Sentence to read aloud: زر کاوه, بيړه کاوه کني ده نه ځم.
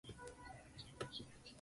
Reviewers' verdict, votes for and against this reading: rejected, 0, 2